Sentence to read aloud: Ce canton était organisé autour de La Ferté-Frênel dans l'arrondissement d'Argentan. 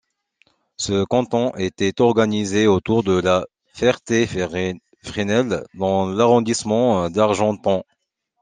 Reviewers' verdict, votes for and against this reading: rejected, 1, 2